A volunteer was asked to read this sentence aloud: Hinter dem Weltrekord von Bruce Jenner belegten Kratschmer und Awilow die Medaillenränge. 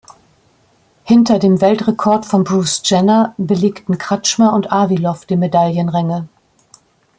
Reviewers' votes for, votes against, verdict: 2, 0, accepted